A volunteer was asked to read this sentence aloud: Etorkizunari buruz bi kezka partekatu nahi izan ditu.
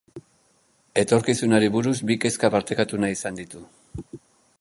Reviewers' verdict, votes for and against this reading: accepted, 3, 0